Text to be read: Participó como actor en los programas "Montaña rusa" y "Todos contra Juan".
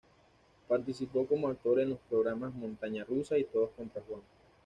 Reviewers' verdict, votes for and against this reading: accepted, 2, 0